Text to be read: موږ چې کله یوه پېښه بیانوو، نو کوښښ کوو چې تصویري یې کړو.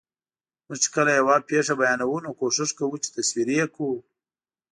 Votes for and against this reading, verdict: 2, 0, accepted